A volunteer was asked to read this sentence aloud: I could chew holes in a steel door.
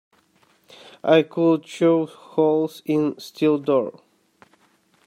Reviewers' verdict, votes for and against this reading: rejected, 0, 2